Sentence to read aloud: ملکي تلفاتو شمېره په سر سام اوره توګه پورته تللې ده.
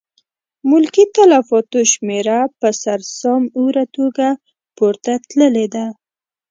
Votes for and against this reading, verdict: 2, 0, accepted